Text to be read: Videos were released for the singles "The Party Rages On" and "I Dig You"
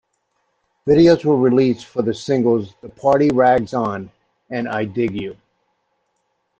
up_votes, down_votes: 1, 2